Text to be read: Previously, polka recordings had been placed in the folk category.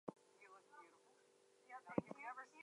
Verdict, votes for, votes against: rejected, 0, 2